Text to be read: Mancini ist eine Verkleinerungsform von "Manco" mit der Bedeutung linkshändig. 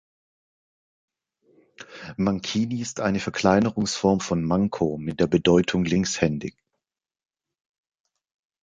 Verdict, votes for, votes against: accepted, 2, 0